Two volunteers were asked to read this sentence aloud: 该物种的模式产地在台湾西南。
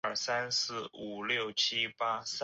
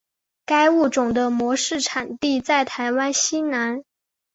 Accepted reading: second